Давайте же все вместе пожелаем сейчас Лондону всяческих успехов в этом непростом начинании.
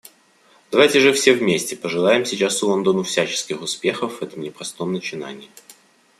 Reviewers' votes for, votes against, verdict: 2, 0, accepted